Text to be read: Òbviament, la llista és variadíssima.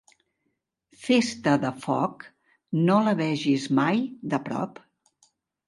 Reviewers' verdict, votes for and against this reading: rejected, 0, 2